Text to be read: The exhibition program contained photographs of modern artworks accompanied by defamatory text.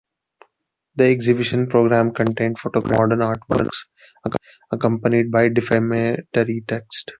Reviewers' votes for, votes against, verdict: 0, 2, rejected